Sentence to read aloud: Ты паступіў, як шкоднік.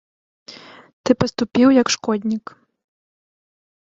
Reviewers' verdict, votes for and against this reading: accepted, 2, 0